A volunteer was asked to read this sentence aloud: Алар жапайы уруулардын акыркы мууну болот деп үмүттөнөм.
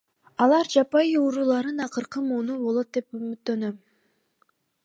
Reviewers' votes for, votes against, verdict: 2, 0, accepted